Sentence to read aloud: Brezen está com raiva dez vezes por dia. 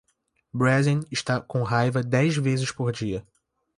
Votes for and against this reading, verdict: 2, 0, accepted